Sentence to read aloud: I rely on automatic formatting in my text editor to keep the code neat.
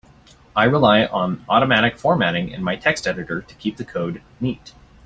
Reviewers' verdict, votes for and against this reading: accepted, 2, 0